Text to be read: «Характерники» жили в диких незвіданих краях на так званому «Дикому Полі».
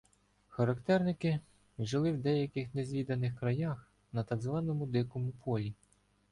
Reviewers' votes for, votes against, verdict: 0, 2, rejected